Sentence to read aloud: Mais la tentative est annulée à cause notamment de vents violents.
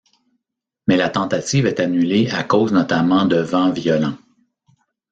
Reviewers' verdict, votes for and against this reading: accepted, 2, 0